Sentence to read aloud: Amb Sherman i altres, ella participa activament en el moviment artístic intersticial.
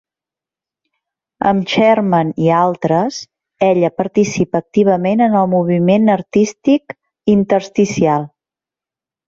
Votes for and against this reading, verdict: 4, 0, accepted